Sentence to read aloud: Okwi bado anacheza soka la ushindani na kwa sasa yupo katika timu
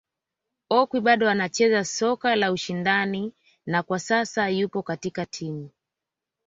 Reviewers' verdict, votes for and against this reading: accepted, 2, 0